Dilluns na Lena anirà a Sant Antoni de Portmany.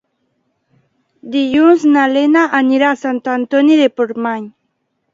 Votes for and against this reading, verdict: 2, 0, accepted